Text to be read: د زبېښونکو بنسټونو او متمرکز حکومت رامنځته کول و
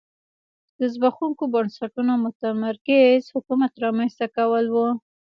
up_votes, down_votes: 2, 0